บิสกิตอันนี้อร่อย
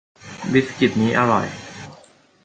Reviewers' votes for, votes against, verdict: 2, 1, accepted